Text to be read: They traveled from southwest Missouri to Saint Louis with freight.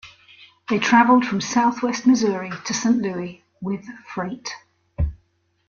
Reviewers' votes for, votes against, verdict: 2, 0, accepted